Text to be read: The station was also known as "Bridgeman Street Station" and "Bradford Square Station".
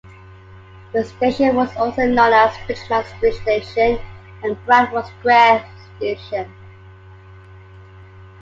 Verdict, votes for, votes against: rejected, 0, 2